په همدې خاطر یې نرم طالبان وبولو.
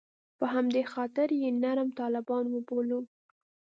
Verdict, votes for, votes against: accepted, 2, 0